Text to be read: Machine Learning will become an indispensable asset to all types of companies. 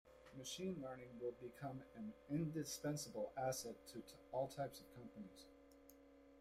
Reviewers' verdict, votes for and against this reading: rejected, 0, 2